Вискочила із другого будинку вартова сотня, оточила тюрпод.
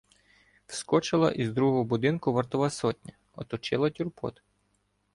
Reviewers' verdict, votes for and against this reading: rejected, 1, 2